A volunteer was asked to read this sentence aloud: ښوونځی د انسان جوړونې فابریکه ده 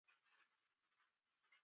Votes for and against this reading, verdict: 0, 2, rejected